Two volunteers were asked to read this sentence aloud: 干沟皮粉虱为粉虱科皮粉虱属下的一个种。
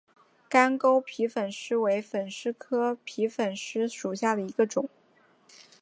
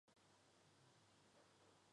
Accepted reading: first